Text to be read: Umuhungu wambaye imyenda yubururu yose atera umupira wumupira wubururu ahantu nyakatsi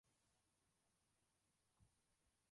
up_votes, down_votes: 0, 2